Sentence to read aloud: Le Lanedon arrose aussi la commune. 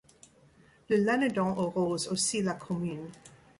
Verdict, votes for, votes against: rejected, 1, 2